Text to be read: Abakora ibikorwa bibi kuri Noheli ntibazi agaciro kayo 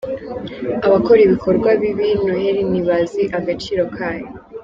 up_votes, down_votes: 1, 2